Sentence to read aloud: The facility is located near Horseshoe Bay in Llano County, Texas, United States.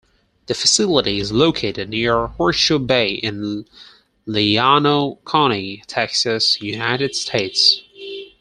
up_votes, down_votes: 2, 4